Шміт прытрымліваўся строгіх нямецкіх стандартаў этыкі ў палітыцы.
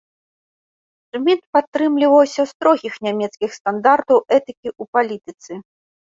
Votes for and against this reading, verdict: 0, 2, rejected